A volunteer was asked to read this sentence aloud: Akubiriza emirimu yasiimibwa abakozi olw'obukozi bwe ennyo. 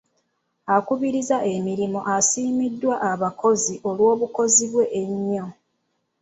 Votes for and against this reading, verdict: 0, 2, rejected